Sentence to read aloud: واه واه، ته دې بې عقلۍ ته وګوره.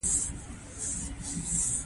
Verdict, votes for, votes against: rejected, 1, 2